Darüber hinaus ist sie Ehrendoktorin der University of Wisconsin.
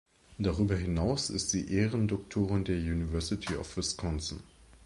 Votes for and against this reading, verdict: 2, 0, accepted